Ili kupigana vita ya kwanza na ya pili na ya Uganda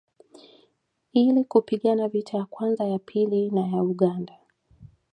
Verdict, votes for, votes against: rejected, 0, 2